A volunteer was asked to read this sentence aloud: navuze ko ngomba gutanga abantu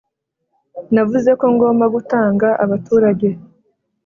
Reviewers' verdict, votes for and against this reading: rejected, 0, 2